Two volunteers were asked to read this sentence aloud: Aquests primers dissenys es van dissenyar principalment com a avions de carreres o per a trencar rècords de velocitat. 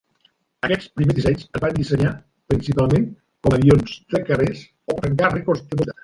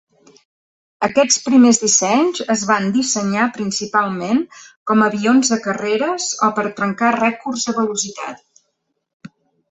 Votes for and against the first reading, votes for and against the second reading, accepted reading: 0, 2, 2, 1, second